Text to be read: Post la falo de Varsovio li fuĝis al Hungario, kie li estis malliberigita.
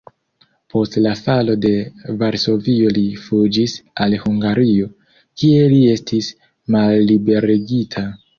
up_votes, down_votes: 2, 1